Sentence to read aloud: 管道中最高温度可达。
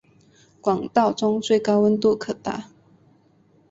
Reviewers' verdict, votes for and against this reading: accepted, 2, 0